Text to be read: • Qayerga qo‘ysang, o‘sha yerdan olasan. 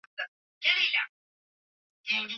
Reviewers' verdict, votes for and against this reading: rejected, 0, 2